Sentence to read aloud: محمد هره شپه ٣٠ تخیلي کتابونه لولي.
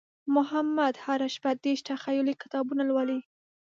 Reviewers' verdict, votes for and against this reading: rejected, 0, 2